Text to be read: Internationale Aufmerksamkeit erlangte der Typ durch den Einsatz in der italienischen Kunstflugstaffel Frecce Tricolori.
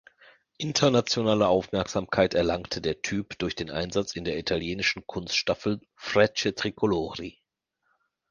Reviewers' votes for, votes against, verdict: 1, 2, rejected